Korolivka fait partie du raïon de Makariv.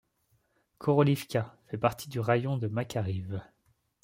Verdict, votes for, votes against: accepted, 2, 0